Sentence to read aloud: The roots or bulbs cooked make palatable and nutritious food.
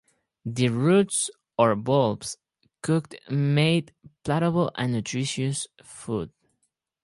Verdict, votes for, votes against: rejected, 0, 4